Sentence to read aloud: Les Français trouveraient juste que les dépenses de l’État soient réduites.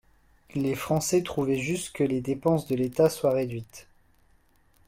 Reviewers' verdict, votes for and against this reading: rejected, 1, 2